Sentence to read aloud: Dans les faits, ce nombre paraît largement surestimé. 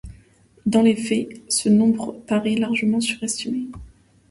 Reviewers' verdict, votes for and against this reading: accepted, 2, 0